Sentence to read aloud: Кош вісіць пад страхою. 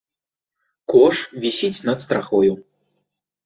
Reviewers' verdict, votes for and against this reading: rejected, 1, 2